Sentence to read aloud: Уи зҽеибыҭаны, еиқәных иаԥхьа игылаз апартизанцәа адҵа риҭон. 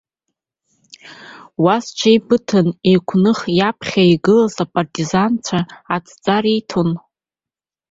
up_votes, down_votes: 1, 2